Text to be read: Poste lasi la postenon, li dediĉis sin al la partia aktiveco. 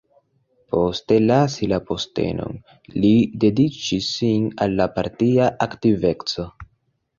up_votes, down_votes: 2, 0